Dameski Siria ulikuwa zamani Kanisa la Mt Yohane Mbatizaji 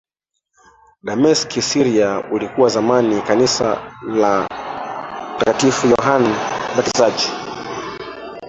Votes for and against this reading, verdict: 0, 2, rejected